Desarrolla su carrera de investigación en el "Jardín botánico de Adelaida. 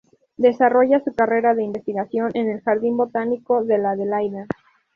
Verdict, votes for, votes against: rejected, 0, 4